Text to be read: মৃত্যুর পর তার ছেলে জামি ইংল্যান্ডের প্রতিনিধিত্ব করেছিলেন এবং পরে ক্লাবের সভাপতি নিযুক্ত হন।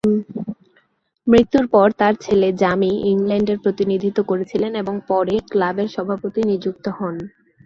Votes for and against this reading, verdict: 9, 1, accepted